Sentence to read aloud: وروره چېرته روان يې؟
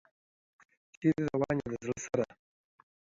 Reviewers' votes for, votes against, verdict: 0, 2, rejected